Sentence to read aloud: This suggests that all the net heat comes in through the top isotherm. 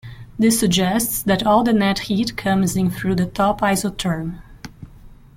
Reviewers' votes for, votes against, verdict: 2, 0, accepted